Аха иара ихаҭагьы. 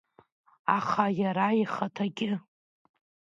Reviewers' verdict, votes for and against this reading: accepted, 2, 1